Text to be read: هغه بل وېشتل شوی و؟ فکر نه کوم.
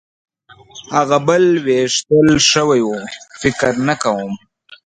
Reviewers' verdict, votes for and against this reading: rejected, 1, 2